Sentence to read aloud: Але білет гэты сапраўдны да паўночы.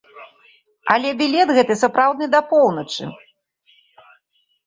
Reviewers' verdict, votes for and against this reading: rejected, 0, 2